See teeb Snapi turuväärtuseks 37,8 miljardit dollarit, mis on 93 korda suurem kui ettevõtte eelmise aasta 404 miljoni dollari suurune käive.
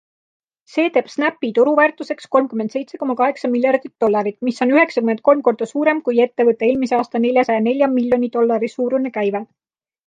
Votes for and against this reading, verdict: 0, 2, rejected